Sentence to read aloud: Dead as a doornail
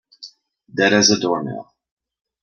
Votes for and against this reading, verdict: 2, 0, accepted